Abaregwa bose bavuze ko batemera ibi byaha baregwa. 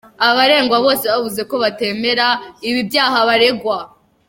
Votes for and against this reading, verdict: 2, 1, accepted